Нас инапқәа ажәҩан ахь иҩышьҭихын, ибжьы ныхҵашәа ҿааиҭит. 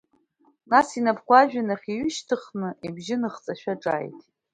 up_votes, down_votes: 2, 0